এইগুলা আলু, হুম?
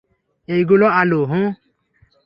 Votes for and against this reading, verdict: 3, 0, accepted